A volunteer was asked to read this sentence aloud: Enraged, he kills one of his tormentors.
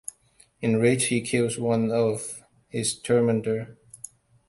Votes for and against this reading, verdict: 1, 2, rejected